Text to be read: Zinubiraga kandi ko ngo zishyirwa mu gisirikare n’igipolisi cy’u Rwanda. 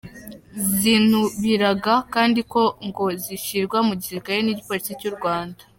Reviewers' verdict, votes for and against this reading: accepted, 2, 0